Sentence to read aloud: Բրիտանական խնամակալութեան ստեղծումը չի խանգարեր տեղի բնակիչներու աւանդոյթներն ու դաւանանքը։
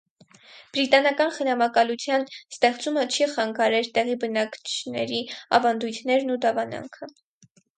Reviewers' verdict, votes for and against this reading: rejected, 2, 4